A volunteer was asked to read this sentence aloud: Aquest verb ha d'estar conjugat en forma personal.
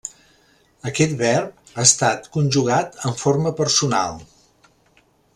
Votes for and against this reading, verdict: 0, 2, rejected